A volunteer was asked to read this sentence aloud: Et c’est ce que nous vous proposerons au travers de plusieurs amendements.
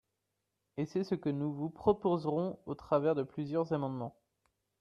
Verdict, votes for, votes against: accepted, 2, 0